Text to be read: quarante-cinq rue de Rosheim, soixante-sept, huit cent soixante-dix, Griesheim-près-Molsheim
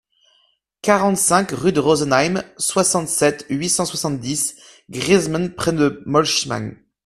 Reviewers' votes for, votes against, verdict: 1, 2, rejected